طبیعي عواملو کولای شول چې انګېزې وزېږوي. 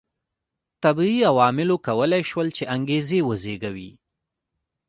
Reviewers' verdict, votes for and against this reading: accepted, 2, 0